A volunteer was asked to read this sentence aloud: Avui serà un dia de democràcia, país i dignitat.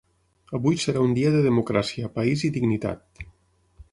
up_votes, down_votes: 6, 0